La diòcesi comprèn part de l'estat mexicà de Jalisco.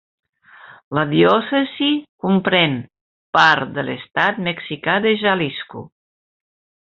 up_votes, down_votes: 1, 2